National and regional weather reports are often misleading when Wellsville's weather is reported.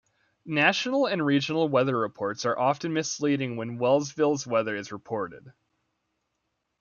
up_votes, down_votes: 2, 0